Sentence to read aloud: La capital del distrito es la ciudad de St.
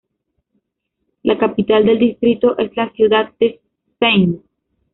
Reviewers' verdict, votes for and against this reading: rejected, 0, 2